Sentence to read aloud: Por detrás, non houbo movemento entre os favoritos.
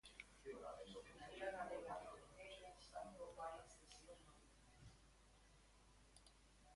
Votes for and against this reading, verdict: 0, 2, rejected